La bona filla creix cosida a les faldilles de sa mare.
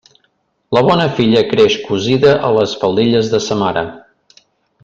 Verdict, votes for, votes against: accepted, 2, 0